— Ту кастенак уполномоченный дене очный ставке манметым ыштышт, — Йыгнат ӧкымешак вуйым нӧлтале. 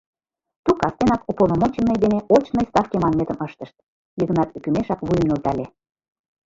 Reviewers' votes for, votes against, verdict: 0, 2, rejected